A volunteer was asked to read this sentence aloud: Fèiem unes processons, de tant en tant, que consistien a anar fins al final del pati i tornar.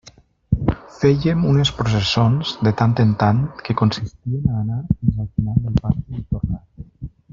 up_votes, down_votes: 0, 2